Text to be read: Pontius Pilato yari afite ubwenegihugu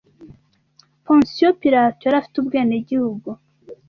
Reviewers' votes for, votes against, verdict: 2, 0, accepted